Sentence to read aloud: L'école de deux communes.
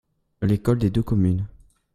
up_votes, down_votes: 1, 2